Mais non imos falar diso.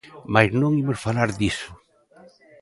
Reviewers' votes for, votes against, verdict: 3, 0, accepted